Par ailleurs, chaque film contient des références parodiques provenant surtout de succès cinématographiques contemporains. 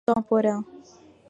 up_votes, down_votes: 0, 2